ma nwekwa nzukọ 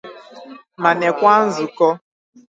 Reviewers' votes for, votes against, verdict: 4, 0, accepted